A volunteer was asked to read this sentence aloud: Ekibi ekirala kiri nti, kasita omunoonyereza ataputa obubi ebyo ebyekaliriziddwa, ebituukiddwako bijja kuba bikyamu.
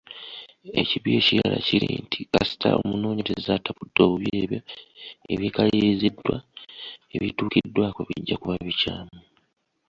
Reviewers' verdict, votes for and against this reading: rejected, 1, 2